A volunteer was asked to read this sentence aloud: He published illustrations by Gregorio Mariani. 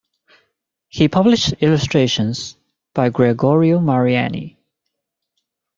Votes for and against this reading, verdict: 2, 0, accepted